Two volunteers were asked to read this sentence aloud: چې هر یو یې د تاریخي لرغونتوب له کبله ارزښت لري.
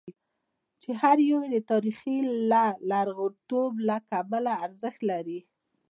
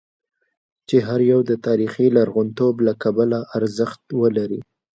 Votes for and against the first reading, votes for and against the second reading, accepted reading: 2, 1, 1, 2, first